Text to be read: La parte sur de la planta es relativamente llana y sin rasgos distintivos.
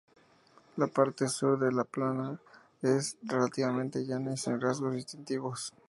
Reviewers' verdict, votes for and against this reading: rejected, 0, 2